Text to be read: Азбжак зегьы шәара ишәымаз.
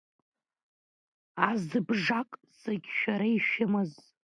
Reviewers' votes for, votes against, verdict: 1, 2, rejected